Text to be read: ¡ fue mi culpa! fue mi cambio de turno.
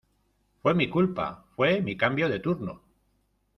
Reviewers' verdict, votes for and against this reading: rejected, 1, 2